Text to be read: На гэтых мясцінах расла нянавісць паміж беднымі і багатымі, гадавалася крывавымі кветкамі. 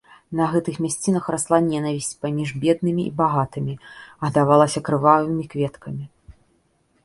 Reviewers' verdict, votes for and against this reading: rejected, 0, 2